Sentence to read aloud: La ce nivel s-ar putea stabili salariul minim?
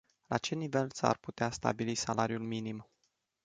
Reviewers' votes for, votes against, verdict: 2, 0, accepted